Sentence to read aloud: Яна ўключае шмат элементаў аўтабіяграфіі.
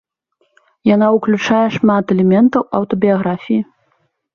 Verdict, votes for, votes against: accepted, 3, 0